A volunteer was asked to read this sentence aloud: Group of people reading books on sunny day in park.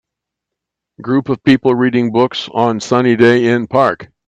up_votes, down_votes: 1, 2